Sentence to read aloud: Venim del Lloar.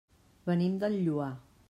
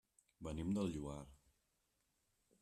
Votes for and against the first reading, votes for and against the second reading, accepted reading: 3, 0, 0, 2, first